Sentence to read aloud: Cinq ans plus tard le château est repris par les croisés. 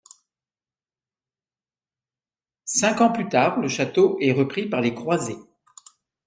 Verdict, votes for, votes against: accepted, 2, 0